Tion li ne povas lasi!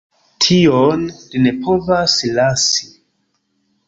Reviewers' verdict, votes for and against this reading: accepted, 2, 0